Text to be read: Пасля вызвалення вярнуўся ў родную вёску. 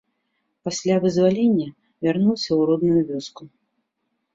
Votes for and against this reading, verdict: 2, 1, accepted